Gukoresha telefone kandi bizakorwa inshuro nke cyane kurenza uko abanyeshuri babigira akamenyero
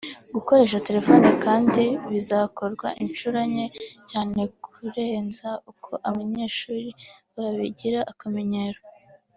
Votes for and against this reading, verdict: 2, 0, accepted